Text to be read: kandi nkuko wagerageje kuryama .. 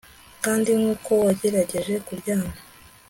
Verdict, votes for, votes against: accepted, 2, 0